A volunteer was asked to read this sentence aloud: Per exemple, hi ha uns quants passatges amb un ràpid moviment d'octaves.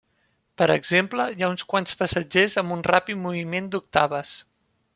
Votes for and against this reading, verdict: 0, 2, rejected